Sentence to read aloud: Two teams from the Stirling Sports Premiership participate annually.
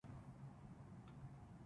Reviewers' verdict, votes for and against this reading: rejected, 0, 2